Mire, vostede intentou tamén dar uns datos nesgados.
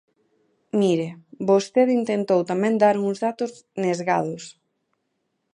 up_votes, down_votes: 2, 0